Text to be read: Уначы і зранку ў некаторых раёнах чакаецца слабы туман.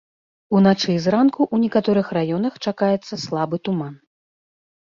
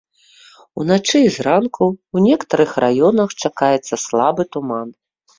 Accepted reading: first